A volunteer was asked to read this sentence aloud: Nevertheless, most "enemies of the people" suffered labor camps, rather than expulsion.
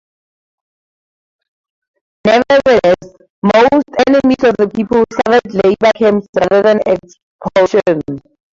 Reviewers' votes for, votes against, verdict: 0, 4, rejected